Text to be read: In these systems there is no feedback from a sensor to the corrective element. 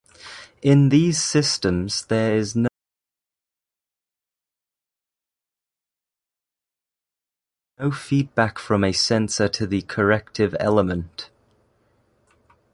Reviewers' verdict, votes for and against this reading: rejected, 0, 2